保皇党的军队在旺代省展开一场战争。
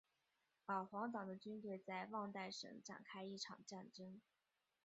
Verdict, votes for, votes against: rejected, 1, 2